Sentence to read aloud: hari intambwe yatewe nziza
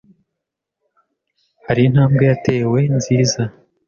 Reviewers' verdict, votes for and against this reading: accepted, 2, 0